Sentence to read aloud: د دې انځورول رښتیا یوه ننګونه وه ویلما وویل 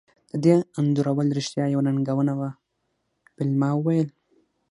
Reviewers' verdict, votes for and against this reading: rejected, 3, 6